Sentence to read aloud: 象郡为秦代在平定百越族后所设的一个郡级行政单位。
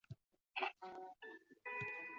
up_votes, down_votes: 0, 2